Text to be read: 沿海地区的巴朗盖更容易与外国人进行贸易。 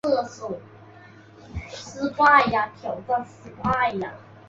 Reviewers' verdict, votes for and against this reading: rejected, 0, 2